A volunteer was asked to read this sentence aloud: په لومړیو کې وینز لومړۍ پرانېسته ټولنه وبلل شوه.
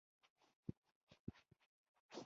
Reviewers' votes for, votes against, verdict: 0, 2, rejected